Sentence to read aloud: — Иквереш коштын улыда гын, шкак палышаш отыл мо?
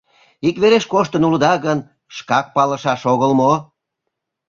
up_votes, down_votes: 1, 2